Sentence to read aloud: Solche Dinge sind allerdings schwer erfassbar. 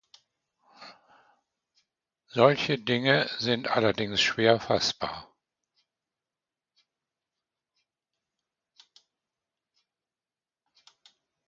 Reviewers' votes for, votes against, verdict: 0, 2, rejected